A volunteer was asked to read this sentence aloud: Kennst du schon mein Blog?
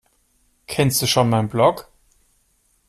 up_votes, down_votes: 2, 0